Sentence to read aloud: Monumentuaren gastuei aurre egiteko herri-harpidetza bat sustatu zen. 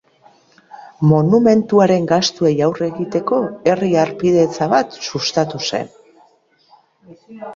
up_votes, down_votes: 3, 1